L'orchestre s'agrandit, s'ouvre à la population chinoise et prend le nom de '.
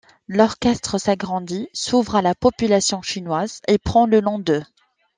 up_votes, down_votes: 2, 0